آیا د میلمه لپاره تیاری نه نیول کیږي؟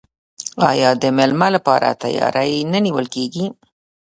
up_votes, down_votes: 1, 2